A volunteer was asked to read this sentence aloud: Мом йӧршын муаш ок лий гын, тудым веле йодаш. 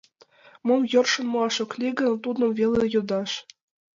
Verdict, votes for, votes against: accepted, 2, 0